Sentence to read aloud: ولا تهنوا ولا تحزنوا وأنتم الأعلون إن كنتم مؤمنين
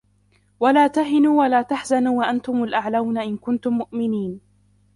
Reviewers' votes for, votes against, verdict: 0, 2, rejected